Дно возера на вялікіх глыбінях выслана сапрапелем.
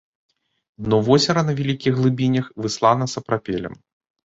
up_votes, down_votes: 1, 2